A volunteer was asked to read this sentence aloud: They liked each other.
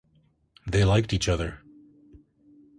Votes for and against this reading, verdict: 2, 0, accepted